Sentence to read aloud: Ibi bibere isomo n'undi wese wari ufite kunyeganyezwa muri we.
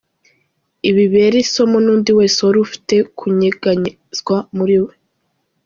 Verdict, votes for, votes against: accepted, 2, 0